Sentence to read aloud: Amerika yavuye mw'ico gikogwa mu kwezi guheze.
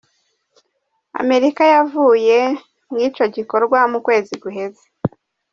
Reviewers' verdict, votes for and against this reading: accepted, 2, 1